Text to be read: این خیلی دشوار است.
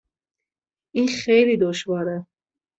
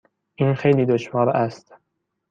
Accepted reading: second